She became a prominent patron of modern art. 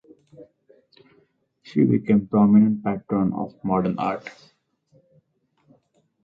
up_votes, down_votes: 2, 2